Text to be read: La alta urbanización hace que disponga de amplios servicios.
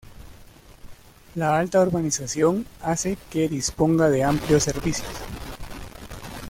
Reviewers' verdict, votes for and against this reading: rejected, 1, 2